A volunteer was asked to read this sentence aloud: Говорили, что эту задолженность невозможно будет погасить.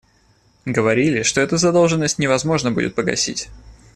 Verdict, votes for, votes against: accepted, 2, 0